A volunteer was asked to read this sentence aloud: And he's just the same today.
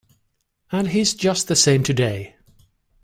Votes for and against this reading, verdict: 2, 0, accepted